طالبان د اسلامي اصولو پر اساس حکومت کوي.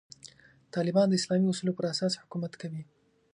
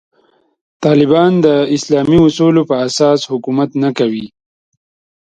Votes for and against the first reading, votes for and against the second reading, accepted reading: 2, 0, 2, 3, first